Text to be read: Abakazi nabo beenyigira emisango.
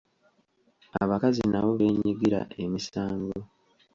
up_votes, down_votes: 2, 0